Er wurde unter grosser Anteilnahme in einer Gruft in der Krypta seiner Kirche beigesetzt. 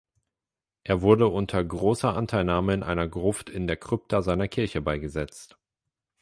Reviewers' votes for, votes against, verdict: 8, 0, accepted